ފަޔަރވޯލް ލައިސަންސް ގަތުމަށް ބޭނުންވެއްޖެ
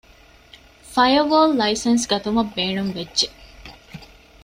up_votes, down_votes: 2, 0